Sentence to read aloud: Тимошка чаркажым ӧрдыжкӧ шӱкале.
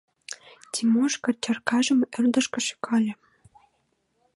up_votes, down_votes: 2, 0